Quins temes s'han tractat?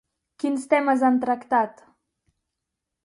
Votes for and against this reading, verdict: 2, 2, rejected